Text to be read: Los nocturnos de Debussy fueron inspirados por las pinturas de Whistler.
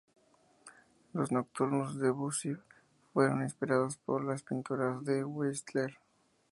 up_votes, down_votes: 0, 4